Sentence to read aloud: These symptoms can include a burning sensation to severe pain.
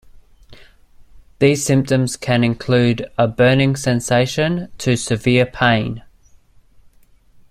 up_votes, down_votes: 2, 0